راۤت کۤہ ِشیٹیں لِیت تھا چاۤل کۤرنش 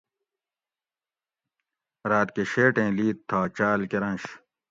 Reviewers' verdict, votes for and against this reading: accepted, 2, 0